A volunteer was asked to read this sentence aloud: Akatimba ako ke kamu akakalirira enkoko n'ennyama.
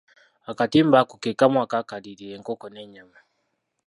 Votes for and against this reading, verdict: 1, 2, rejected